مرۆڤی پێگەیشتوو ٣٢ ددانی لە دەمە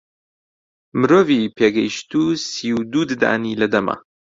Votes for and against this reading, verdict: 0, 2, rejected